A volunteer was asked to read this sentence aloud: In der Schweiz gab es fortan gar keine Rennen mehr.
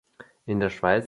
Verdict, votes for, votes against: rejected, 0, 2